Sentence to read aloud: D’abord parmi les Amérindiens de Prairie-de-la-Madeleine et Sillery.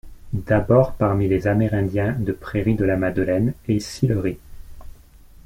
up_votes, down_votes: 2, 0